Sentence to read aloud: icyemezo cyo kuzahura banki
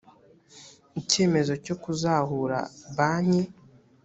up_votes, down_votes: 2, 0